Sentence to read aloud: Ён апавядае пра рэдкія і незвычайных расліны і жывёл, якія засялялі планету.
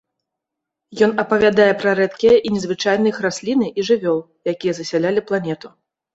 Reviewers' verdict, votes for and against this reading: accepted, 2, 0